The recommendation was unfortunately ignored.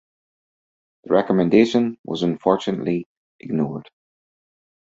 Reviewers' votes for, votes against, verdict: 4, 0, accepted